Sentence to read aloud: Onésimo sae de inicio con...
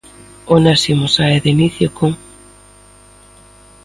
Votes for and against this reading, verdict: 2, 0, accepted